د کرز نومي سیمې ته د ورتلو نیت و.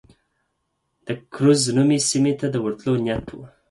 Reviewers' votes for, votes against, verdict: 4, 2, accepted